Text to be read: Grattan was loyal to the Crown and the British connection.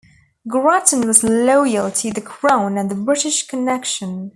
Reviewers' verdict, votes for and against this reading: accepted, 2, 0